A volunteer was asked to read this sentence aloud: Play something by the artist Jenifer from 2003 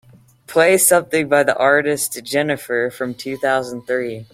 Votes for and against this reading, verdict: 0, 2, rejected